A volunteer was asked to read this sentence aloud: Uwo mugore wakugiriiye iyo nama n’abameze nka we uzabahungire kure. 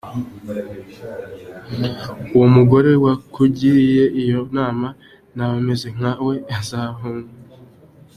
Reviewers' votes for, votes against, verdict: 0, 2, rejected